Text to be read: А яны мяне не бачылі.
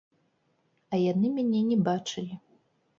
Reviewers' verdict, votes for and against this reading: rejected, 1, 2